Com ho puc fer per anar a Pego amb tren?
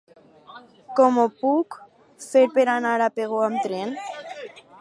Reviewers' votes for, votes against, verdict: 4, 2, accepted